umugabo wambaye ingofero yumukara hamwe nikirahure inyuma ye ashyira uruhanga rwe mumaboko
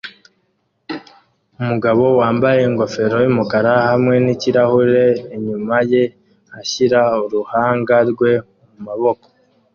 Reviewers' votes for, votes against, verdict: 2, 0, accepted